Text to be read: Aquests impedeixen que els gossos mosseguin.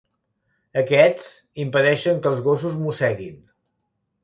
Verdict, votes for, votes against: accepted, 2, 0